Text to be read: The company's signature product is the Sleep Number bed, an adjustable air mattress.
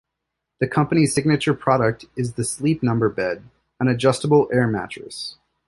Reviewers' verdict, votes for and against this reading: accepted, 2, 0